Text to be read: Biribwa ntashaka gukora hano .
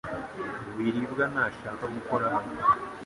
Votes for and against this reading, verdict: 2, 0, accepted